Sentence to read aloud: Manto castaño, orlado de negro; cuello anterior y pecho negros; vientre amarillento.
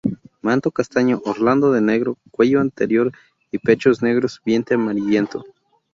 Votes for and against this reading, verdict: 0, 2, rejected